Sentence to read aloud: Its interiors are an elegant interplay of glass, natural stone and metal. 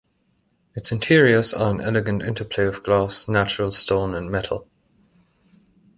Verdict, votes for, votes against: accepted, 2, 0